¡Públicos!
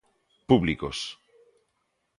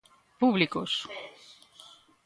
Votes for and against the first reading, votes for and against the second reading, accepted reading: 2, 0, 1, 2, first